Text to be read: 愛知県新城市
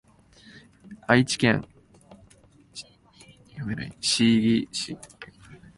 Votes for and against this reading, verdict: 1, 7, rejected